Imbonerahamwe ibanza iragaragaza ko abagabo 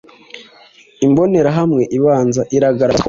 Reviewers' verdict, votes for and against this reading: rejected, 1, 2